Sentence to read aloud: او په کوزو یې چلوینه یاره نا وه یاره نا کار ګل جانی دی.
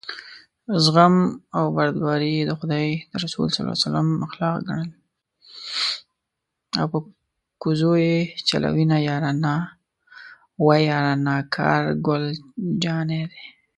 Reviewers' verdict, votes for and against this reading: rejected, 0, 2